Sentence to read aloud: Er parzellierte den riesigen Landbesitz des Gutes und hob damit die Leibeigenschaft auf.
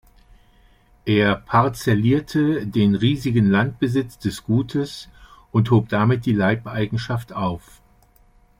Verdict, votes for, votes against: accepted, 2, 0